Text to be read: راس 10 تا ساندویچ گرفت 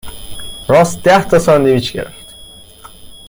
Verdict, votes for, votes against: rejected, 0, 2